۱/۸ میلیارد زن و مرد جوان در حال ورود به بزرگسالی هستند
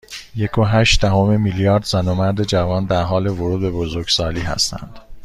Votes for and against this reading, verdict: 0, 2, rejected